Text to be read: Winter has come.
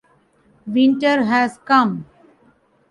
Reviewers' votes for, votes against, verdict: 2, 0, accepted